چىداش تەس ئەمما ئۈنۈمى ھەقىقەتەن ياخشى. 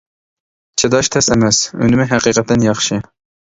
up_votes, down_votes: 0, 2